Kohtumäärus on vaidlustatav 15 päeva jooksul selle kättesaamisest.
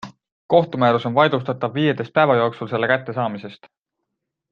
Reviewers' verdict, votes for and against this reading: rejected, 0, 2